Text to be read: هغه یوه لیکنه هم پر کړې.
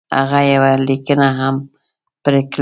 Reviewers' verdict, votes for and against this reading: rejected, 1, 2